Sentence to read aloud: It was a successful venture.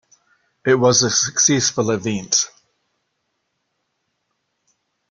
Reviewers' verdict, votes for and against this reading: rejected, 0, 2